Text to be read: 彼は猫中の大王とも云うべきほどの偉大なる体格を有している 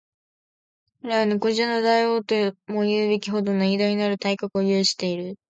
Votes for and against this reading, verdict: 5, 0, accepted